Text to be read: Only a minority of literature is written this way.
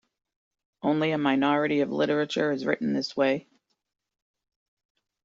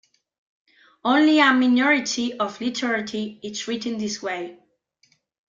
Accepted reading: first